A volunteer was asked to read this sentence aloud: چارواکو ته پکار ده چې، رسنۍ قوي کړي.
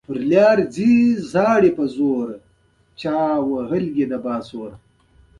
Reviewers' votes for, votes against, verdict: 2, 0, accepted